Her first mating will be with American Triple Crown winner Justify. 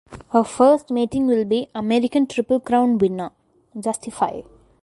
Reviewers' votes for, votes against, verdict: 2, 4, rejected